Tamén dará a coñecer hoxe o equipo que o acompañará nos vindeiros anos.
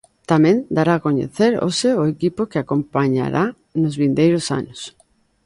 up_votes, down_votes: 1, 2